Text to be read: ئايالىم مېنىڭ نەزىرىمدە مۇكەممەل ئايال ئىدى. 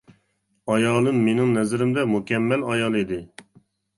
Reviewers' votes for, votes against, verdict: 2, 0, accepted